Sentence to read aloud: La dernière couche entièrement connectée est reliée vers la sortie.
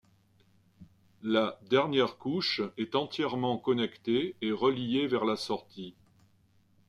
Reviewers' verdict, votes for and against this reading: rejected, 0, 2